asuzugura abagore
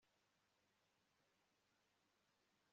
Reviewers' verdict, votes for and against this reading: rejected, 1, 2